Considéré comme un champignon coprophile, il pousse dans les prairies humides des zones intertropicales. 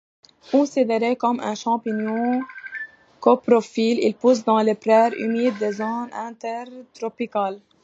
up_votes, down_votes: 1, 2